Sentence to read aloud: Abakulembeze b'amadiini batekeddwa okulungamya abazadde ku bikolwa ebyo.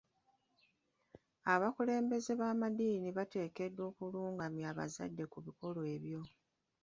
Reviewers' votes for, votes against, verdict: 1, 2, rejected